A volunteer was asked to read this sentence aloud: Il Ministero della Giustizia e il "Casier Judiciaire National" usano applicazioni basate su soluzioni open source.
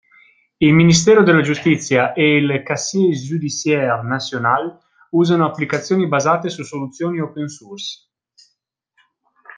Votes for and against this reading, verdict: 2, 0, accepted